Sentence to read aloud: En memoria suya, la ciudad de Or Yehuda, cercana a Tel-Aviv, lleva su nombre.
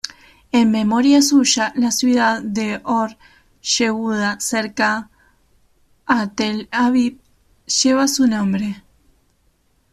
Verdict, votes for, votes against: rejected, 0, 2